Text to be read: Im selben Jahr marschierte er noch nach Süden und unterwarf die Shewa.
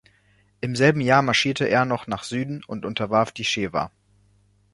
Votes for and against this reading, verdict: 2, 0, accepted